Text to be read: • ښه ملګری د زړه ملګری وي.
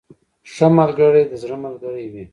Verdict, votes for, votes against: accepted, 2, 1